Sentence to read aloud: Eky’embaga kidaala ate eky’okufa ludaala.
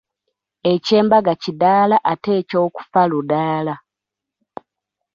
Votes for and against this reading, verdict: 1, 2, rejected